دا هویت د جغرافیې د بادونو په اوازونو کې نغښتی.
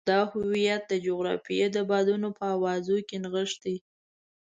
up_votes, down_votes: 2, 0